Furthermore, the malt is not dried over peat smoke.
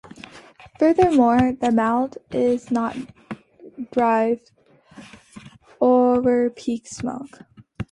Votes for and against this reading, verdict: 1, 2, rejected